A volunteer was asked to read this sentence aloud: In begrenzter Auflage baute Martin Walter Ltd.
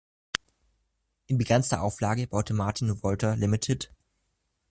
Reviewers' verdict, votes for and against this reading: rejected, 1, 2